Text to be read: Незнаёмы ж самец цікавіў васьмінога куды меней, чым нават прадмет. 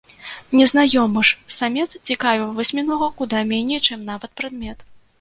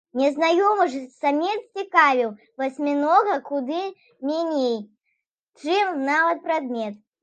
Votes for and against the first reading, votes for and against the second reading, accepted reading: 0, 2, 2, 0, second